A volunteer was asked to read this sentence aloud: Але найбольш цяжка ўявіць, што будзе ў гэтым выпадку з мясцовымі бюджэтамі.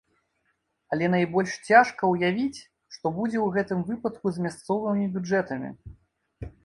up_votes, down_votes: 2, 0